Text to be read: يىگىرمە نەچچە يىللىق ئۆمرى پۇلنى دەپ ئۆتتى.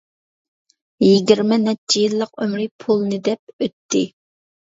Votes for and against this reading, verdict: 2, 0, accepted